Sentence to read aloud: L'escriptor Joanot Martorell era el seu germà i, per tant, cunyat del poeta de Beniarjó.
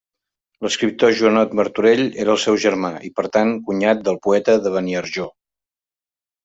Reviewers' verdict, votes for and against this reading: accepted, 3, 0